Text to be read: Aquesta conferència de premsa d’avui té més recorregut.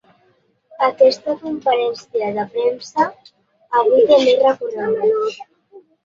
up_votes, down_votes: 1, 2